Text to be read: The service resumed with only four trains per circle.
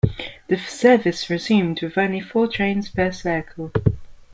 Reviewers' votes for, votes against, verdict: 2, 0, accepted